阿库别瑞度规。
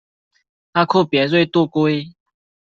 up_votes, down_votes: 1, 2